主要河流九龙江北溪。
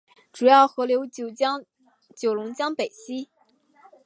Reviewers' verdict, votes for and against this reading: rejected, 1, 2